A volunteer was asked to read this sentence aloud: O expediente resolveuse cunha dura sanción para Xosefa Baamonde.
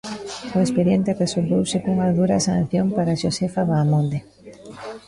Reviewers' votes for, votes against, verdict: 1, 2, rejected